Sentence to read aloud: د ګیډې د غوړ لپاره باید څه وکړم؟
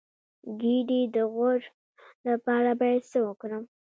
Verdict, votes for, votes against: accepted, 2, 1